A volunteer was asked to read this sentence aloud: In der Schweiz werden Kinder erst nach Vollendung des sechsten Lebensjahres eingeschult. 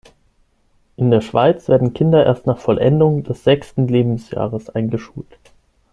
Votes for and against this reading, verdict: 6, 0, accepted